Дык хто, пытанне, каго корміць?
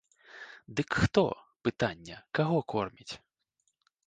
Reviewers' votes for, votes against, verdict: 2, 0, accepted